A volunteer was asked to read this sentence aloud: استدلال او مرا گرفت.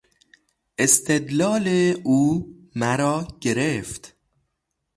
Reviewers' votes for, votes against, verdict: 3, 0, accepted